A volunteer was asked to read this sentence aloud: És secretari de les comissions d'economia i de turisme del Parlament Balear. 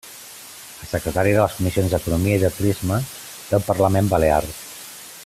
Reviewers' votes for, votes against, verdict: 1, 2, rejected